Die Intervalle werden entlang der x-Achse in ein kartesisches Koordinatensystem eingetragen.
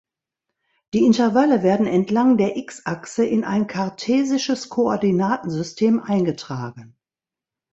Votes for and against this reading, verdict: 2, 0, accepted